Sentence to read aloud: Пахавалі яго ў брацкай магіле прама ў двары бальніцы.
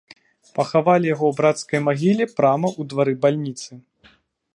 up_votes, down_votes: 2, 0